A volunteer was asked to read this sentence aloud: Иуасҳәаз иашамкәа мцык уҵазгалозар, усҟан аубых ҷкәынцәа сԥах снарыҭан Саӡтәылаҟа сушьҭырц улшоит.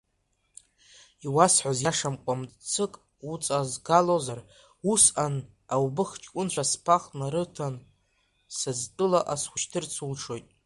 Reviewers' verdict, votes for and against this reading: rejected, 0, 2